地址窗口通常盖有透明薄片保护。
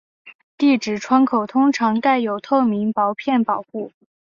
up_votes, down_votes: 2, 0